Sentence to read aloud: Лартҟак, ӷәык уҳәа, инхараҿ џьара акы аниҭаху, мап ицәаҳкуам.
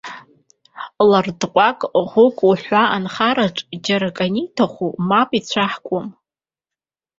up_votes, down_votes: 1, 2